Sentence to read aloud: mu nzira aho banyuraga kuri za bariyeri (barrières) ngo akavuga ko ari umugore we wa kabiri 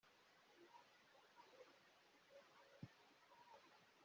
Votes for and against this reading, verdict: 0, 2, rejected